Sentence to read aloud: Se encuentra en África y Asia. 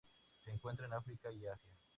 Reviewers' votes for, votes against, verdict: 2, 0, accepted